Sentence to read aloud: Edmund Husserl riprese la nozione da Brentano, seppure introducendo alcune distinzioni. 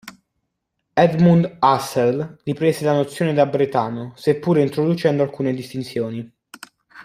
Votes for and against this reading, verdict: 1, 2, rejected